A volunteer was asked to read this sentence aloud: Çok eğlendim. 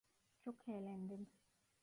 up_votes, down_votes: 1, 2